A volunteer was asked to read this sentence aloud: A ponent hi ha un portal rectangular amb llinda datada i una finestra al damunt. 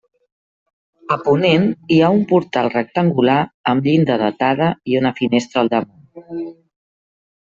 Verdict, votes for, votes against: rejected, 1, 2